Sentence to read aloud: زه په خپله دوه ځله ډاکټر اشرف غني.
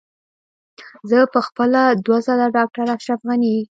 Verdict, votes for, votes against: accepted, 2, 0